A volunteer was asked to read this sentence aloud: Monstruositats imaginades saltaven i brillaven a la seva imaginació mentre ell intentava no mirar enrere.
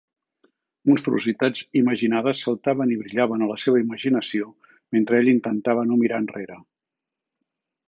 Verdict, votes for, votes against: accepted, 2, 0